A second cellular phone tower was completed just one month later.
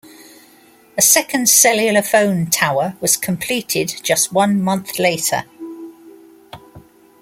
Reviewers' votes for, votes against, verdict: 2, 0, accepted